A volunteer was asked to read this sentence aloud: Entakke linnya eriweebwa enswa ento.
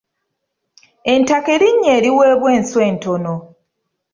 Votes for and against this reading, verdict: 0, 2, rejected